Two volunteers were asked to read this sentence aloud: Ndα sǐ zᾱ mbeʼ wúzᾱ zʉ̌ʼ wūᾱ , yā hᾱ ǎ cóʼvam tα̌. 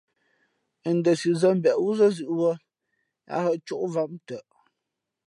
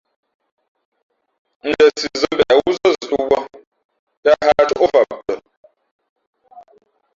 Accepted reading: first